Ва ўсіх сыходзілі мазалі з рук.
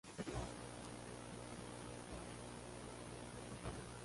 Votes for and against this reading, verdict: 0, 2, rejected